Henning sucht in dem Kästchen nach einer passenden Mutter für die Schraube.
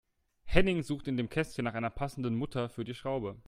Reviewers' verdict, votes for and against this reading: accepted, 2, 0